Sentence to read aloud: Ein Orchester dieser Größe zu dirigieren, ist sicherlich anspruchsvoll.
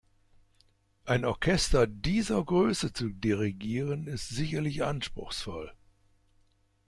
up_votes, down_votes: 2, 0